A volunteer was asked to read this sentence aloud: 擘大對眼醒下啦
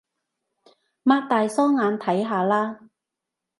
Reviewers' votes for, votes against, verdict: 0, 2, rejected